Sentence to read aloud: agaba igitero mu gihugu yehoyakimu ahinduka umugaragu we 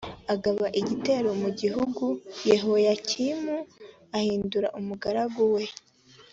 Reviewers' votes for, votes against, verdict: 2, 1, accepted